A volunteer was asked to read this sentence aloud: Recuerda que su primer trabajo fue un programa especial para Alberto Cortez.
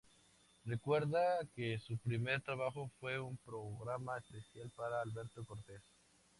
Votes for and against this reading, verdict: 2, 2, rejected